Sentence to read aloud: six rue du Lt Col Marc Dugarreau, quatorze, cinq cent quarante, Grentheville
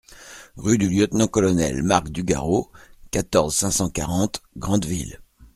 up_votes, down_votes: 0, 2